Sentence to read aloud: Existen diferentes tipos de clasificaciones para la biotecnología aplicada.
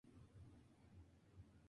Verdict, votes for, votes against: rejected, 0, 2